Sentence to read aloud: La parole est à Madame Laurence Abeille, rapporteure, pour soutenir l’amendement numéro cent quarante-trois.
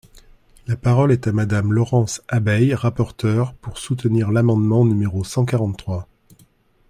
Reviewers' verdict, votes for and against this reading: accepted, 2, 0